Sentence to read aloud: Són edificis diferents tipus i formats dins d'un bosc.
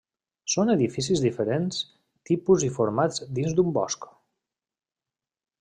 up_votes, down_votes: 3, 0